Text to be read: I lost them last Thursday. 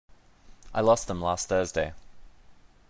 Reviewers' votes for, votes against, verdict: 2, 0, accepted